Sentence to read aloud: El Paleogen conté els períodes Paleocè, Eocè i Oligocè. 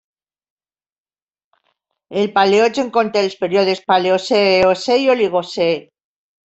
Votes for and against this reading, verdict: 2, 0, accepted